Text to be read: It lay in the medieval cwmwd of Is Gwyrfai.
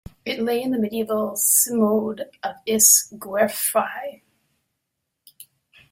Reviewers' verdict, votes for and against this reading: rejected, 0, 2